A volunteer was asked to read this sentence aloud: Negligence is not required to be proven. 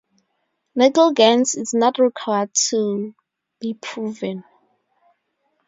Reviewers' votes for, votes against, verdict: 0, 2, rejected